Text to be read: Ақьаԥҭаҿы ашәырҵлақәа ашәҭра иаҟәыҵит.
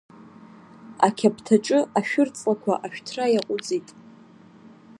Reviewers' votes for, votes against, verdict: 1, 2, rejected